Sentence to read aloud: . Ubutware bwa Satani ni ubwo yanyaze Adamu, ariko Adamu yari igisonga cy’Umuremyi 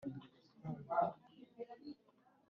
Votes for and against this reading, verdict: 1, 2, rejected